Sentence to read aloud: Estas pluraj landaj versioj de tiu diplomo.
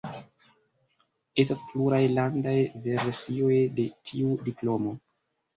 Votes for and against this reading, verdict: 1, 2, rejected